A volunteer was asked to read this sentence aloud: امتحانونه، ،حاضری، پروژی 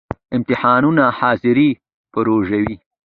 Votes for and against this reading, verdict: 2, 0, accepted